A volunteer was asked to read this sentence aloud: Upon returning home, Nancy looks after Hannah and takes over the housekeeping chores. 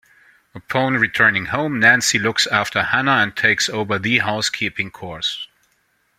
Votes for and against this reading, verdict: 2, 1, accepted